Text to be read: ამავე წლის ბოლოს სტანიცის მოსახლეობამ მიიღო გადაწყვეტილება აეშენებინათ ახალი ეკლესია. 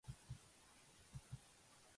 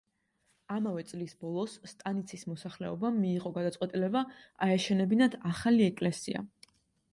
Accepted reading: second